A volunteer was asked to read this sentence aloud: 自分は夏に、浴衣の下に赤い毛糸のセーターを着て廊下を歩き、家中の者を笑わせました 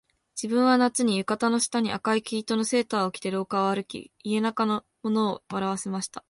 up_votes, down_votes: 0, 2